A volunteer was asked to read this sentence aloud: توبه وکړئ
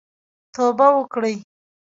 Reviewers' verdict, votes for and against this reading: rejected, 0, 2